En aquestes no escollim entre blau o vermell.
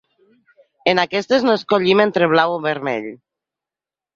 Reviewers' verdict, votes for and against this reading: accepted, 2, 0